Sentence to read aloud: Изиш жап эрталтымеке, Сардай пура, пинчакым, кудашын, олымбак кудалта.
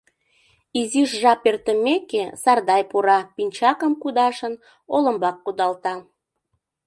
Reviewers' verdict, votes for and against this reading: rejected, 0, 2